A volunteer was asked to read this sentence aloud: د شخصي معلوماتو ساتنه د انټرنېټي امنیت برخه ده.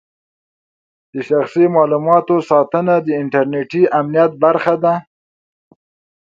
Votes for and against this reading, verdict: 0, 2, rejected